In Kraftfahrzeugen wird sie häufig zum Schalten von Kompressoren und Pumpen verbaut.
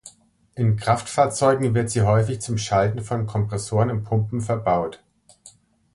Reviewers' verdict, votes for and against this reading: accepted, 2, 0